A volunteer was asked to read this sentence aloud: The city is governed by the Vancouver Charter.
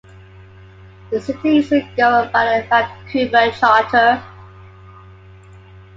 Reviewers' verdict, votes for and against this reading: accepted, 2, 0